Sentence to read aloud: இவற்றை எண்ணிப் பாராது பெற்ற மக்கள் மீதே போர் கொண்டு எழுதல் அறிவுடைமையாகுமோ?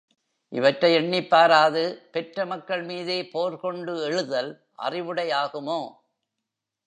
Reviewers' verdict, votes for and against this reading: rejected, 1, 2